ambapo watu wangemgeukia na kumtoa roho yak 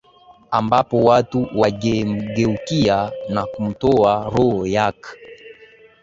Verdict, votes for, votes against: accepted, 2, 0